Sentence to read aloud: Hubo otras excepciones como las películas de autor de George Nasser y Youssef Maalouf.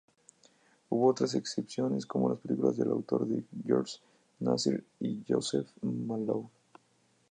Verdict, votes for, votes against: rejected, 0, 2